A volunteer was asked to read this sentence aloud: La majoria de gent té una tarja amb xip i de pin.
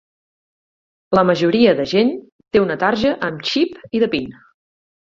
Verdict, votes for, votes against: accepted, 18, 0